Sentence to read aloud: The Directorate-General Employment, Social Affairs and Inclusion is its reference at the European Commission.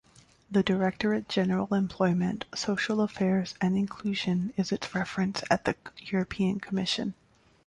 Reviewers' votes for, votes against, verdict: 2, 0, accepted